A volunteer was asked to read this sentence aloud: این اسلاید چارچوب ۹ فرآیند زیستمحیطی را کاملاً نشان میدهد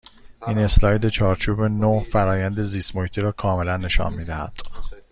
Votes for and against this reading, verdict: 0, 2, rejected